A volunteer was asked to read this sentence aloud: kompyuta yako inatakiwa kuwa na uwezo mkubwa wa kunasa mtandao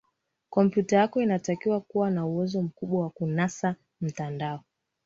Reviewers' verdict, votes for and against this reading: accepted, 2, 1